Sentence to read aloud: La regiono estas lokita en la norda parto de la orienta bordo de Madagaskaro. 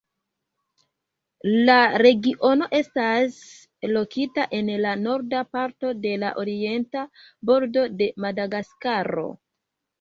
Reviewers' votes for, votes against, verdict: 2, 0, accepted